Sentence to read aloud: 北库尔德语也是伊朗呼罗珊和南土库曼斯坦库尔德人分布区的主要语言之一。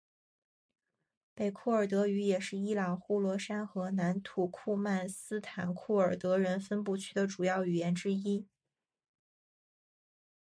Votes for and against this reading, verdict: 4, 0, accepted